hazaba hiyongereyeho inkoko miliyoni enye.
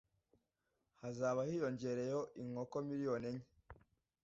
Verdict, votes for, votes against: accepted, 2, 0